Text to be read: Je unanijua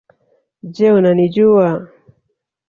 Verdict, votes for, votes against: accepted, 2, 0